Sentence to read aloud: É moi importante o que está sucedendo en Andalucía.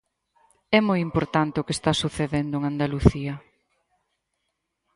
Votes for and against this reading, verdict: 4, 0, accepted